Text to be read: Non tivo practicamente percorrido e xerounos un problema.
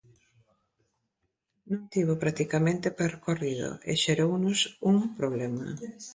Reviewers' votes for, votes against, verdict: 2, 0, accepted